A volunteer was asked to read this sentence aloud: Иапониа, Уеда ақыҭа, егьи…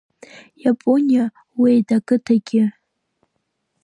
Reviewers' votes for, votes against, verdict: 1, 2, rejected